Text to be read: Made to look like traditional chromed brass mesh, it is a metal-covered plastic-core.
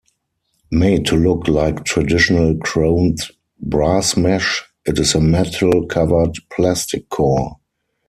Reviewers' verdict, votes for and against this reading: rejected, 0, 4